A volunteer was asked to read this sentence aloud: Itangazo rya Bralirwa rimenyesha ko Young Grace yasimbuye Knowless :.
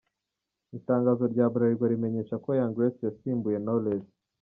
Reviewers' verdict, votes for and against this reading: accepted, 2, 1